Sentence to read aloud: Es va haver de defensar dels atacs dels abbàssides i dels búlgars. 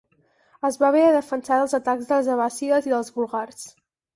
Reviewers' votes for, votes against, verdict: 6, 0, accepted